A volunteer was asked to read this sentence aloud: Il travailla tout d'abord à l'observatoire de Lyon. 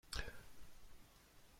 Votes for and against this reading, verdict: 1, 2, rejected